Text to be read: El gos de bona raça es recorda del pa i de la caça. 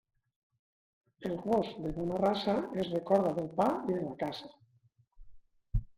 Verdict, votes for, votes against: accepted, 2, 0